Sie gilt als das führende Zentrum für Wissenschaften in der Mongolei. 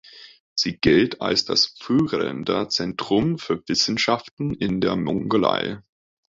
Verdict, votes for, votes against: rejected, 1, 2